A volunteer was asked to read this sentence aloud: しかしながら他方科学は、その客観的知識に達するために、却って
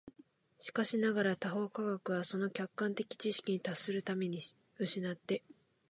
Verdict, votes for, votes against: accepted, 6, 1